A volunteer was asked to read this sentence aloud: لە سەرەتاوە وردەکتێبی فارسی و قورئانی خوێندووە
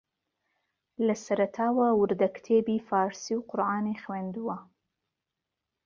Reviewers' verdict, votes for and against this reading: accepted, 2, 0